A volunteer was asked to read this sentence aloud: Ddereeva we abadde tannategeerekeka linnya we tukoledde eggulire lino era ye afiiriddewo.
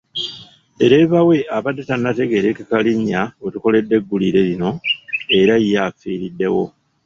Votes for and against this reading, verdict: 2, 0, accepted